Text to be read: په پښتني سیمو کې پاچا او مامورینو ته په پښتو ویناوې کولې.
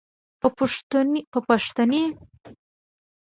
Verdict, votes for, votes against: rejected, 0, 2